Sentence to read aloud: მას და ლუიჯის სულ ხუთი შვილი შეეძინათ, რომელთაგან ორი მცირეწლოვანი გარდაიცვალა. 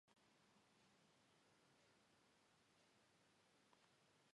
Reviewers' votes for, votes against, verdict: 1, 3, rejected